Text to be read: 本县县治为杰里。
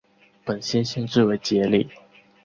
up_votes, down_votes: 3, 0